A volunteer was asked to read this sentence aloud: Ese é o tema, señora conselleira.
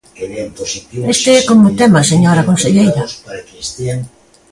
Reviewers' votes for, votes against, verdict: 0, 2, rejected